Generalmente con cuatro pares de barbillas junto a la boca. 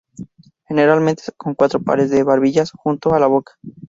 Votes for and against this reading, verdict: 0, 2, rejected